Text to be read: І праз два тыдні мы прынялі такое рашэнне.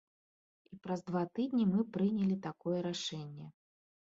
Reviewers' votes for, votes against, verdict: 2, 0, accepted